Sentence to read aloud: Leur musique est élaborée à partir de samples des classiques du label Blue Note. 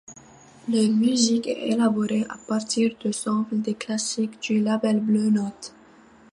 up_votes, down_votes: 1, 2